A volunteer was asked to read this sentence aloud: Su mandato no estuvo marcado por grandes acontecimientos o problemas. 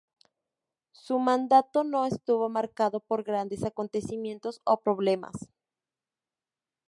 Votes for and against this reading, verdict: 2, 0, accepted